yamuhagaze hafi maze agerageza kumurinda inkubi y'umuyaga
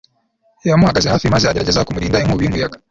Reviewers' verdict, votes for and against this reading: rejected, 1, 2